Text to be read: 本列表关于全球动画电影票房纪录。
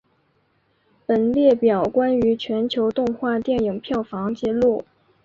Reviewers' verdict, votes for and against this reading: accepted, 4, 0